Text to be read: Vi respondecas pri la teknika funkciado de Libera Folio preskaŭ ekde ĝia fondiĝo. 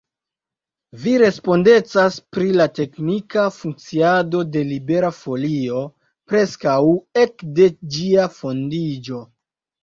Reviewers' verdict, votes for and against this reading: accepted, 3, 0